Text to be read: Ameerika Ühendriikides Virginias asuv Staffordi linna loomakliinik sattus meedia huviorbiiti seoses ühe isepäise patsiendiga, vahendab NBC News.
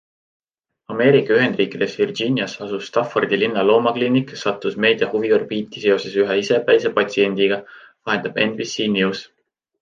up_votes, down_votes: 2, 1